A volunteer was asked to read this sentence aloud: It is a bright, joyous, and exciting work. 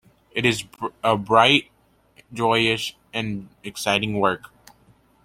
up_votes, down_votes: 1, 2